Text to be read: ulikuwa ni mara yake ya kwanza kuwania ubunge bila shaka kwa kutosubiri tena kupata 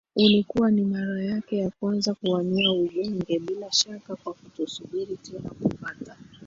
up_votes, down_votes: 3, 1